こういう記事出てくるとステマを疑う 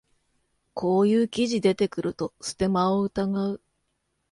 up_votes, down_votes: 2, 0